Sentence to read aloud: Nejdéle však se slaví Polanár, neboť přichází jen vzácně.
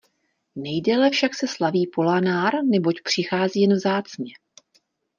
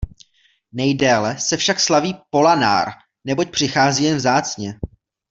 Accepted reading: first